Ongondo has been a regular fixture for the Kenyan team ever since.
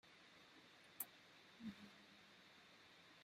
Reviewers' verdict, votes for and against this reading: rejected, 0, 2